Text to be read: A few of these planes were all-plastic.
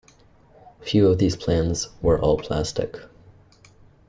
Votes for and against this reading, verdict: 1, 2, rejected